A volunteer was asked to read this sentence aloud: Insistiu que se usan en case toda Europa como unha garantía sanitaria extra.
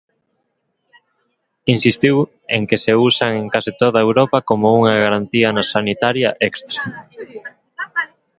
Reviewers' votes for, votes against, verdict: 0, 2, rejected